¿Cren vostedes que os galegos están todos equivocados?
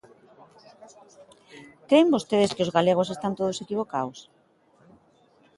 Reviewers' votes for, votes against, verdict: 0, 2, rejected